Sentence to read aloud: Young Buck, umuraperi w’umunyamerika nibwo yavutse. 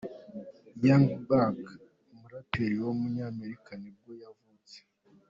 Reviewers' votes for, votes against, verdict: 3, 0, accepted